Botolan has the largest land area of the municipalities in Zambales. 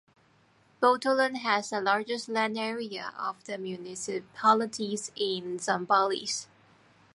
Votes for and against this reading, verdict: 2, 0, accepted